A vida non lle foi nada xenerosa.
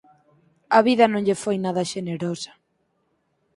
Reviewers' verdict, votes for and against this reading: accepted, 4, 0